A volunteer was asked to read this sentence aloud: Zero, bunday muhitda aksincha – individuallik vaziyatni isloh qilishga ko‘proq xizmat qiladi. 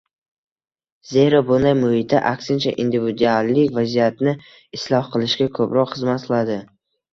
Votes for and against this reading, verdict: 1, 2, rejected